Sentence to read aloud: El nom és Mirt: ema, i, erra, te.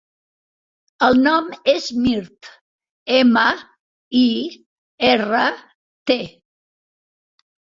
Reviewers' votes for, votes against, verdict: 2, 0, accepted